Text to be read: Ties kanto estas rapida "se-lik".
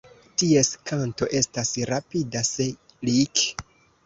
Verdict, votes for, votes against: rejected, 1, 2